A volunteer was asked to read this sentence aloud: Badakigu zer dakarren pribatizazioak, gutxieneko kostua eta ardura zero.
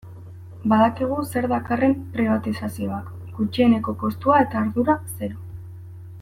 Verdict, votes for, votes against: accepted, 2, 0